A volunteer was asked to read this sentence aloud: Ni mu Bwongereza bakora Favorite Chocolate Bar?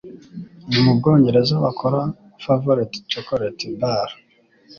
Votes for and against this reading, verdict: 2, 0, accepted